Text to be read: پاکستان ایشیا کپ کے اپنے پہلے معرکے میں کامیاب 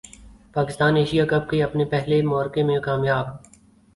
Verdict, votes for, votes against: accepted, 4, 0